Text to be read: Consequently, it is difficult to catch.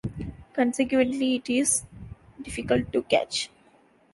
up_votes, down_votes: 2, 0